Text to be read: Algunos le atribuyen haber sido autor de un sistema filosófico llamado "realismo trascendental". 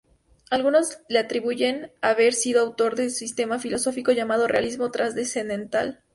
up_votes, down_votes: 2, 2